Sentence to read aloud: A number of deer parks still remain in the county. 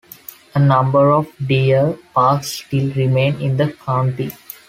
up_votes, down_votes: 2, 1